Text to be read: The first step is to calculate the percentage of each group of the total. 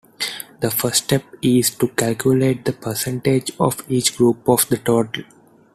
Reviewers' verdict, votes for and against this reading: accepted, 2, 0